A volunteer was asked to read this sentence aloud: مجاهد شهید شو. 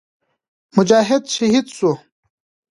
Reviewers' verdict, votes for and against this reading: accepted, 2, 1